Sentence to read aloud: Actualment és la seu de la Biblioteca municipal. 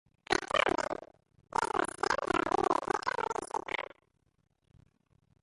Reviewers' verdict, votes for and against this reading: rejected, 0, 2